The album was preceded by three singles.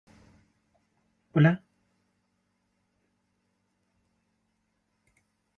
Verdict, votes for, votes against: rejected, 0, 2